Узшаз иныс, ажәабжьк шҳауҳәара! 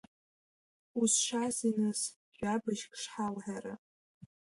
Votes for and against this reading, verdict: 0, 2, rejected